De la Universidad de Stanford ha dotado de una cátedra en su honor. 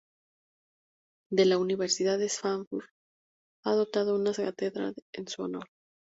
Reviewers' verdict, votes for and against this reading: rejected, 0, 4